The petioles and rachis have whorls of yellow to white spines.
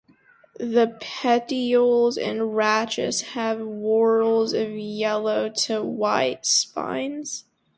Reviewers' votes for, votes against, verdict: 4, 0, accepted